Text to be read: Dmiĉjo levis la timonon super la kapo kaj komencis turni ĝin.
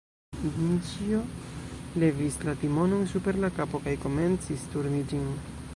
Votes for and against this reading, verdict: 0, 2, rejected